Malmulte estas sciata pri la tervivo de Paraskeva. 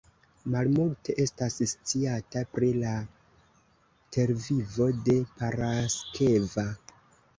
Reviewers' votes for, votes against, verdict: 2, 0, accepted